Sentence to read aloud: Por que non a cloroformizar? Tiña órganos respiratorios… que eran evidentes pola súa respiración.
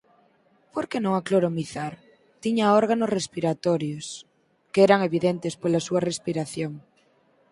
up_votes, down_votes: 0, 4